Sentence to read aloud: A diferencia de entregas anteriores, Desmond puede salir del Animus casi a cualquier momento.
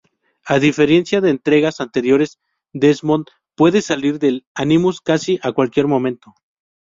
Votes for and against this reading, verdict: 2, 0, accepted